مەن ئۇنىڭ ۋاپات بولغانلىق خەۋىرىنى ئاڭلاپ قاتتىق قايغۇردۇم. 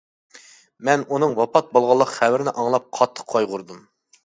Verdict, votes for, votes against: accepted, 2, 0